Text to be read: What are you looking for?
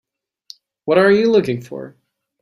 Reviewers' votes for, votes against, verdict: 3, 0, accepted